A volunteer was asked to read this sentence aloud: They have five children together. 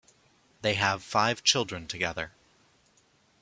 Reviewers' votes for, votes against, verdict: 2, 0, accepted